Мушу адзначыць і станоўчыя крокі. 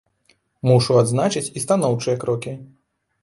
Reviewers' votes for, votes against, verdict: 2, 0, accepted